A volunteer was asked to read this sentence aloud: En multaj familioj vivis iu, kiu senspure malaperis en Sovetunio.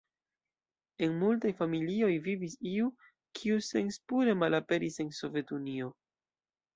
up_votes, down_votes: 2, 0